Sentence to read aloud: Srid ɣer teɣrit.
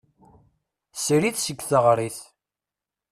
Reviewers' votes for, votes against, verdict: 0, 2, rejected